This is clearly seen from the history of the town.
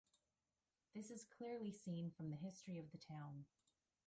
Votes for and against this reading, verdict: 1, 2, rejected